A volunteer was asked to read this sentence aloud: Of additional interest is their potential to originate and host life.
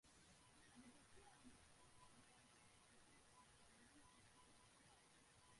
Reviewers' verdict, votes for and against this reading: rejected, 0, 2